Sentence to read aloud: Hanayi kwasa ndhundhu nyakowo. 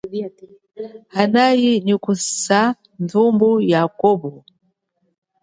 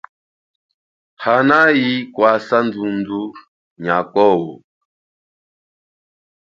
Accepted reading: second